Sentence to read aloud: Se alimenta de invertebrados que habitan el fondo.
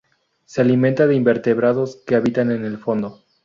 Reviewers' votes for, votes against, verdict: 2, 2, rejected